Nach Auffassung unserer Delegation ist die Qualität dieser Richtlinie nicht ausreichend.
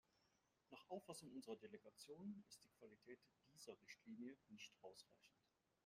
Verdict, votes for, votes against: rejected, 0, 2